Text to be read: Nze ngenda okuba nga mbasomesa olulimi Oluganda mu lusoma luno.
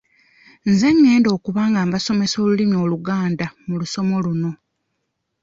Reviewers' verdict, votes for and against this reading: rejected, 0, 2